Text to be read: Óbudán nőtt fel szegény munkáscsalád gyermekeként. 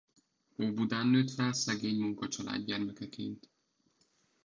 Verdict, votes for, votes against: rejected, 0, 2